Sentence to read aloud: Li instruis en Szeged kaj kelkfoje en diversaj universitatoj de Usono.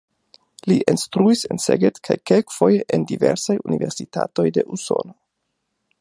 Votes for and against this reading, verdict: 2, 0, accepted